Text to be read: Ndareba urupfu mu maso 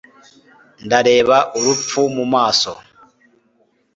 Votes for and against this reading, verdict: 2, 0, accepted